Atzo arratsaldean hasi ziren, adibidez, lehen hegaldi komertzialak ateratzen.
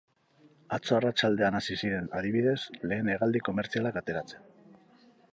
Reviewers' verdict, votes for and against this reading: accepted, 2, 0